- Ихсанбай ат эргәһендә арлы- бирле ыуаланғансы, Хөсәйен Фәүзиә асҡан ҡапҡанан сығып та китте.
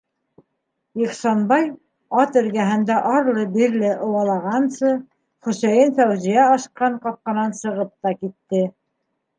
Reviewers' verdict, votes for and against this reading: rejected, 1, 2